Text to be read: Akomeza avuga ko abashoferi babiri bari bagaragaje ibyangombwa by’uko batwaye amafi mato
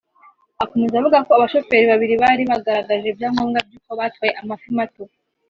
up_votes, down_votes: 2, 0